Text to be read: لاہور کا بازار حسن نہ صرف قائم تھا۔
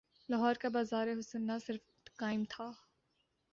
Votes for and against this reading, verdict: 4, 0, accepted